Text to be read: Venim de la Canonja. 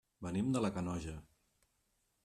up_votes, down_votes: 1, 4